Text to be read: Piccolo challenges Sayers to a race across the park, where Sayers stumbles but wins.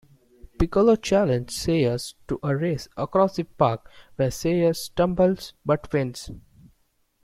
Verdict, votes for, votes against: rejected, 0, 2